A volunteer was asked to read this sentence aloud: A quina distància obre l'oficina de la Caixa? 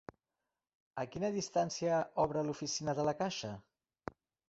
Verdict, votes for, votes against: accepted, 2, 0